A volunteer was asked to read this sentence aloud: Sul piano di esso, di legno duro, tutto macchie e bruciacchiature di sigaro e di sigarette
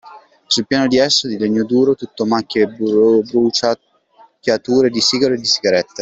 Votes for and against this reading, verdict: 0, 2, rejected